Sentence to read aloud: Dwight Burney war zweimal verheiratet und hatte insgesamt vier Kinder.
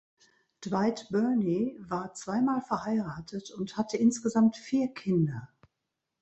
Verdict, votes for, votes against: accepted, 2, 1